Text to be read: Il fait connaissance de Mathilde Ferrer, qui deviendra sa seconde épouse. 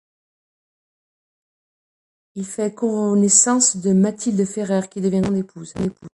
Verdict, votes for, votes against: rejected, 1, 2